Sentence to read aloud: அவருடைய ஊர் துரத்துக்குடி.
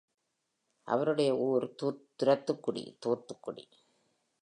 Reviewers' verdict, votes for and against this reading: rejected, 2, 3